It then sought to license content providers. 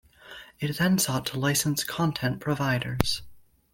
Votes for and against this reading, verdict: 2, 0, accepted